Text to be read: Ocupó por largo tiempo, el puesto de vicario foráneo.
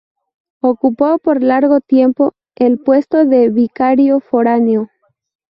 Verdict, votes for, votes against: rejected, 0, 2